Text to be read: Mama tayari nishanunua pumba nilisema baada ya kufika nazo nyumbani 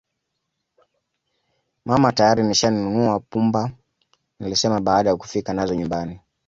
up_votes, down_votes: 2, 0